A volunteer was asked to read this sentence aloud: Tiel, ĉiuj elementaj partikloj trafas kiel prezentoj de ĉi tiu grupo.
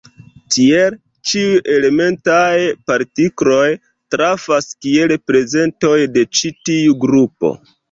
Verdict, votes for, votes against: accepted, 2, 0